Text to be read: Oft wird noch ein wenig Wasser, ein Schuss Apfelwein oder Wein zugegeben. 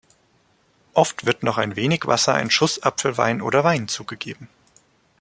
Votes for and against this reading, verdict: 0, 2, rejected